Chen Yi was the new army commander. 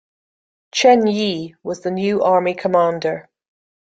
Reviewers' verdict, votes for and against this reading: accepted, 2, 0